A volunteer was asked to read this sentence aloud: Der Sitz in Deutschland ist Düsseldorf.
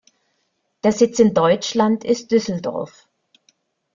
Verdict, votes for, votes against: accepted, 2, 0